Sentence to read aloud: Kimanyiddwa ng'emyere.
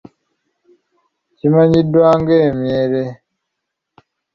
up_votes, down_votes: 2, 0